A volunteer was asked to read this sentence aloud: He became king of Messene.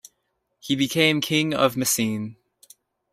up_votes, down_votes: 2, 0